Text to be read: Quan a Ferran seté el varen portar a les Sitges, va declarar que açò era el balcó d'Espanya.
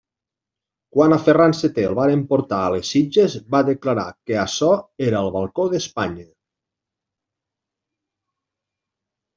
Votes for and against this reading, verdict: 2, 0, accepted